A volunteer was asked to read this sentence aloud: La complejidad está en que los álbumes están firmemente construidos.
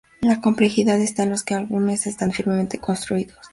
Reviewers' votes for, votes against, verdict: 0, 4, rejected